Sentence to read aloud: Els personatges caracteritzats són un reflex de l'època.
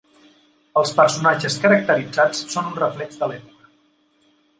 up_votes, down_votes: 1, 2